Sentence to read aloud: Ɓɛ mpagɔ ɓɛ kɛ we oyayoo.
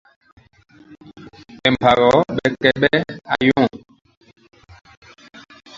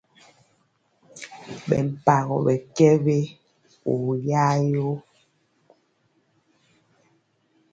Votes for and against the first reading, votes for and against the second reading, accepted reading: 0, 2, 2, 0, second